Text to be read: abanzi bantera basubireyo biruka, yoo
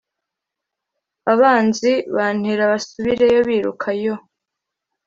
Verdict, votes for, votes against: accepted, 2, 0